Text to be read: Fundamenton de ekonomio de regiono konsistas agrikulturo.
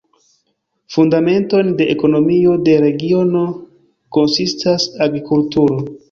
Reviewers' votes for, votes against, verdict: 1, 2, rejected